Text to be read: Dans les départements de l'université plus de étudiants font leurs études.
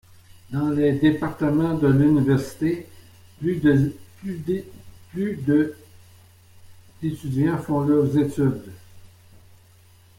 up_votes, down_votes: 0, 2